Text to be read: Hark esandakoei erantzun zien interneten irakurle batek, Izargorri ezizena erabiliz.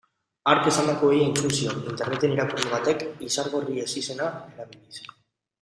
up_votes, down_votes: 0, 2